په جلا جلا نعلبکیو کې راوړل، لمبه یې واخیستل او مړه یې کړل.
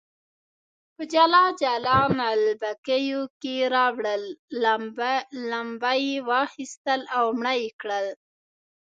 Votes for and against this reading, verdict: 0, 2, rejected